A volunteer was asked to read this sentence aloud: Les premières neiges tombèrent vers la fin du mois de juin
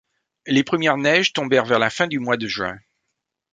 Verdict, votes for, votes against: accepted, 2, 0